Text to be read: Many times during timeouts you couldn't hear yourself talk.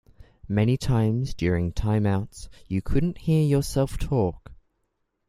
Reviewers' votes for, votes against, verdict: 2, 0, accepted